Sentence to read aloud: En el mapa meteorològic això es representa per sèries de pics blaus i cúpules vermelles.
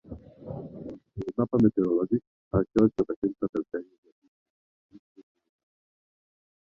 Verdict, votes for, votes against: rejected, 0, 2